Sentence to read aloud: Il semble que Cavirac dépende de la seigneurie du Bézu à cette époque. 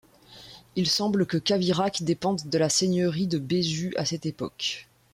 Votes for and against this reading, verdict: 0, 2, rejected